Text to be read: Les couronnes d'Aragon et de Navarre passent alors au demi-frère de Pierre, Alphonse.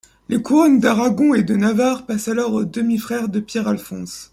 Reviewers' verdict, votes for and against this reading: accepted, 3, 0